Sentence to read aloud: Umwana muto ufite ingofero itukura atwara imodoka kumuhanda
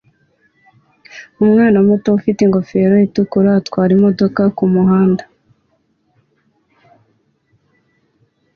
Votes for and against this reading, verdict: 2, 0, accepted